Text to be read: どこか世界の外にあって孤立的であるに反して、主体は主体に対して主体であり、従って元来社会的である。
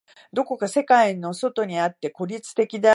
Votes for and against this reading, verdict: 0, 2, rejected